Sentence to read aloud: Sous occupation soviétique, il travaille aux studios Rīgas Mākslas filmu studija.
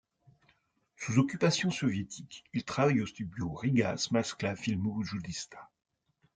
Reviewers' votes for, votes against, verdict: 1, 2, rejected